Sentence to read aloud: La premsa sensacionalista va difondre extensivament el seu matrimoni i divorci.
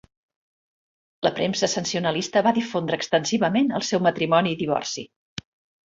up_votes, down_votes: 1, 2